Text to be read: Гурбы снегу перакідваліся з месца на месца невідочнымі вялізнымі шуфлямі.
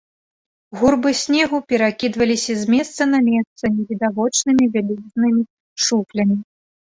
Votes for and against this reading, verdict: 0, 2, rejected